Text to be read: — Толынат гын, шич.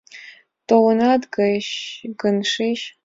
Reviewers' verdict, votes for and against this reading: rejected, 1, 2